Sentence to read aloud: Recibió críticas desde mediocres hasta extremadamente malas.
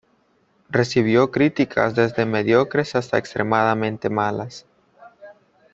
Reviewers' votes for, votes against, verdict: 2, 0, accepted